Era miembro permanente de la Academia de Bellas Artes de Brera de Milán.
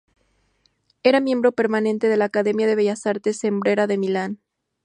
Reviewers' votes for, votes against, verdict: 0, 4, rejected